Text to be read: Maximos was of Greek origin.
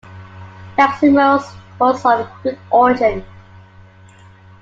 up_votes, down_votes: 1, 2